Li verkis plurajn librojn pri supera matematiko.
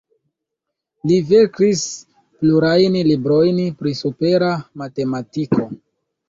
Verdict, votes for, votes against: accepted, 2, 0